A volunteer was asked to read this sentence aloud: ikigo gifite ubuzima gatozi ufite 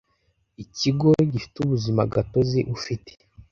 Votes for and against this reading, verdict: 2, 0, accepted